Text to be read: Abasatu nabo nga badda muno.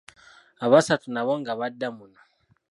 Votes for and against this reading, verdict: 0, 2, rejected